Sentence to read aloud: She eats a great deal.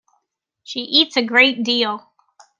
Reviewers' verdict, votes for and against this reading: accepted, 2, 0